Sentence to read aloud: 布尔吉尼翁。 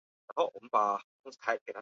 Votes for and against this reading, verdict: 0, 3, rejected